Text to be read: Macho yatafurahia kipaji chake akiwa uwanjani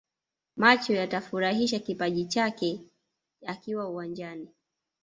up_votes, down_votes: 0, 2